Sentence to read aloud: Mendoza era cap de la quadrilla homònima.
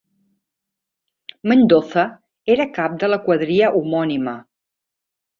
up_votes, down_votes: 1, 2